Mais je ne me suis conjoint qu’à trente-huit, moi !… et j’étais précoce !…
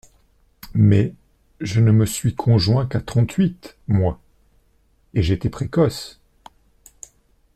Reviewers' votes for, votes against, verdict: 2, 0, accepted